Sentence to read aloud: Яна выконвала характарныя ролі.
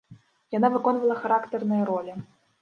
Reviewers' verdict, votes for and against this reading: accepted, 2, 0